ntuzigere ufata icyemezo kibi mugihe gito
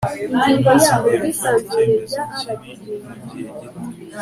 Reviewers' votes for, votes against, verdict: 2, 0, accepted